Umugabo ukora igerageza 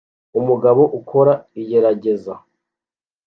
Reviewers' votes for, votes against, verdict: 2, 0, accepted